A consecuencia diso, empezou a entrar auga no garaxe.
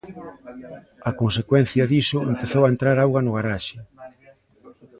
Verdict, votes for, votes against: accepted, 2, 0